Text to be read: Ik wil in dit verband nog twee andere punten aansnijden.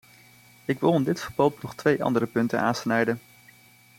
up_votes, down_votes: 2, 0